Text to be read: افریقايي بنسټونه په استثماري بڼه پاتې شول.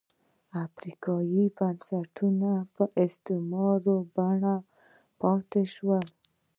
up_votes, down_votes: 0, 2